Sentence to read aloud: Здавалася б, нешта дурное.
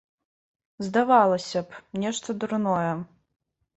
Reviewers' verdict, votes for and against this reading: accepted, 2, 0